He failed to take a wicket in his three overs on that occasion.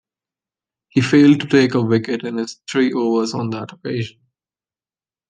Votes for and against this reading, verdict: 2, 1, accepted